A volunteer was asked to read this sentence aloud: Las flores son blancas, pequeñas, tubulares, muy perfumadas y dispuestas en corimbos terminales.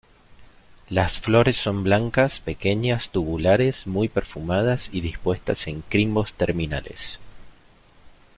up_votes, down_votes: 0, 2